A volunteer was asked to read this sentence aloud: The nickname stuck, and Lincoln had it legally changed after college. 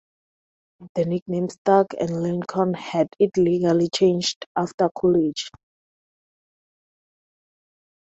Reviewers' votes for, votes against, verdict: 2, 0, accepted